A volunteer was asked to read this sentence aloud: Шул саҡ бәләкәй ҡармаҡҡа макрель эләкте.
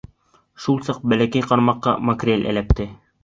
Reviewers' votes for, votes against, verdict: 2, 0, accepted